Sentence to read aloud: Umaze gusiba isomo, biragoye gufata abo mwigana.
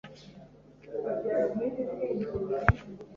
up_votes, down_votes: 0, 3